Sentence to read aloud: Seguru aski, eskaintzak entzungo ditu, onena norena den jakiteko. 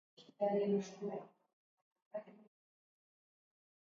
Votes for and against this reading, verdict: 0, 2, rejected